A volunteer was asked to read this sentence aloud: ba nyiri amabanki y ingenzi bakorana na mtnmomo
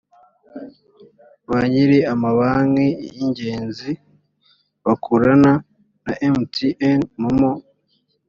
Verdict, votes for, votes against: accepted, 4, 0